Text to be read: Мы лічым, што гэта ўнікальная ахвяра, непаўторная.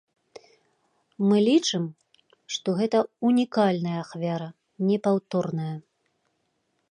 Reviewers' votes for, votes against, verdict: 2, 0, accepted